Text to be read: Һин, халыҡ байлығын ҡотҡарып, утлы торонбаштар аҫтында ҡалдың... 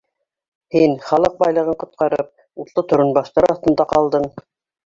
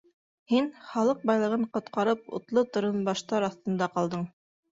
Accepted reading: second